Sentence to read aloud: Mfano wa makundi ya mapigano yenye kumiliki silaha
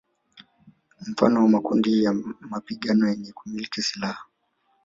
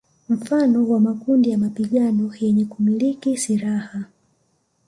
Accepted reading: second